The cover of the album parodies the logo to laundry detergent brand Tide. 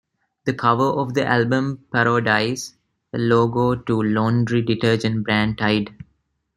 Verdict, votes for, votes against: rejected, 1, 2